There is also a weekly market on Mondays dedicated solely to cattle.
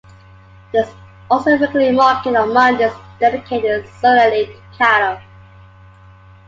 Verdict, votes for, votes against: rejected, 1, 2